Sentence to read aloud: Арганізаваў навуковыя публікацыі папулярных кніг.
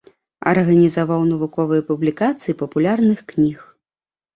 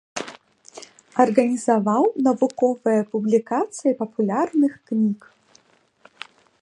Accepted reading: first